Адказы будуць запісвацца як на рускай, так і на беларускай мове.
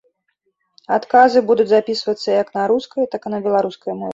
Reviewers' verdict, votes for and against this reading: rejected, 1, 3